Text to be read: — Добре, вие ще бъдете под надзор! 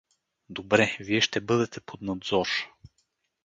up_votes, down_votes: 4, 0